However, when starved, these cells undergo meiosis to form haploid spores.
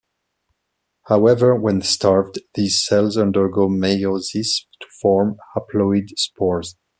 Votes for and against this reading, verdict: 2, 0, accepted